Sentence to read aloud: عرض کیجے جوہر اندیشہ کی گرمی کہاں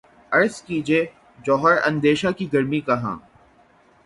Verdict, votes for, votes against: accepted, 3, 0